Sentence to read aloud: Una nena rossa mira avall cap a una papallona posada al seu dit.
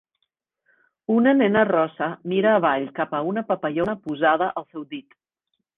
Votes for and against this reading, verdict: 1, 2, rejected